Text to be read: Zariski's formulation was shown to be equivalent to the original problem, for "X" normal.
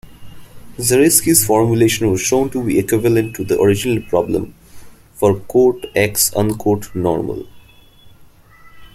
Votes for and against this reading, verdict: 1, 2, rejected